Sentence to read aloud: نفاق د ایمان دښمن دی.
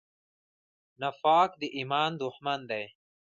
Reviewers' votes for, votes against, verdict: 0, 2, rejected